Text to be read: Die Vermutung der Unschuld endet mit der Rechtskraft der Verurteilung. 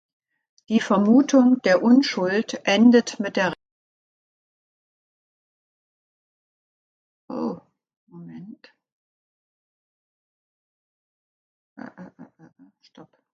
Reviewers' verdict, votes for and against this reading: rejected, 0, 2